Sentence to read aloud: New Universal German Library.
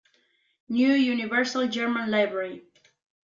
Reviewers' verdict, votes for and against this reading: accepted, 2, 0